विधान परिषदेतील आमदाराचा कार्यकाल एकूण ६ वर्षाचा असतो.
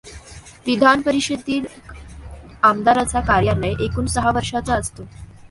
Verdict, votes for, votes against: rejected, 0, 2